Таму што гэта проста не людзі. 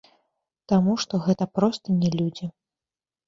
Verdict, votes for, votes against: rejected, 1, 2